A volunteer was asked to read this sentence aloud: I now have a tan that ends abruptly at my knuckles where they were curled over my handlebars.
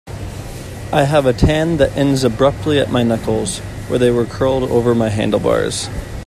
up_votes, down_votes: 0, 2